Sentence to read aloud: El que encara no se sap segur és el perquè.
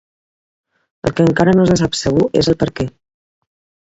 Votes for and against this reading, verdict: 2, 3, rejected